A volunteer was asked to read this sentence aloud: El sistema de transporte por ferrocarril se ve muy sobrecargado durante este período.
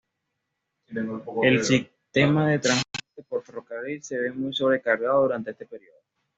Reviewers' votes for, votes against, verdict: 2, 0, accepted